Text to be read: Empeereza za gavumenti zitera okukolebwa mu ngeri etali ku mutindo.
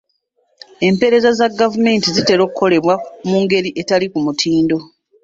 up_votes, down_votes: 3, 1